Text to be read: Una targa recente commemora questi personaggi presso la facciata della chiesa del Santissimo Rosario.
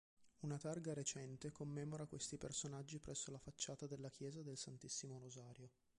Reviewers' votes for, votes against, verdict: 2, 1, accepted